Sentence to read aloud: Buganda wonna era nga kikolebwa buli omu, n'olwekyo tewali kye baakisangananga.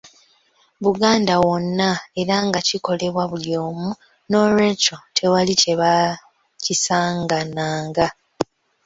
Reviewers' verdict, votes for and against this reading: rejected, 0, 2